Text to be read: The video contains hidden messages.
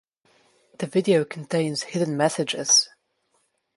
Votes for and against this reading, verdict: 2, 0, accepted